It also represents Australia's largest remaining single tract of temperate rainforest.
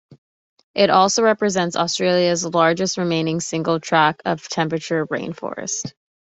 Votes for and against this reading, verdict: 0, 2, rejected